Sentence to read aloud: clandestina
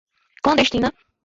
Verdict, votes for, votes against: accepted, 2, 1